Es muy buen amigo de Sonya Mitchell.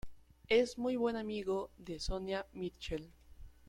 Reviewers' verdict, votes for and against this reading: accepted, 2, 0